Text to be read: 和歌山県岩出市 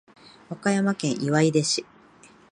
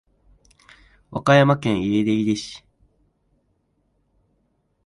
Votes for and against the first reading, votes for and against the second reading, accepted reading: 2, 0, 1, 3, first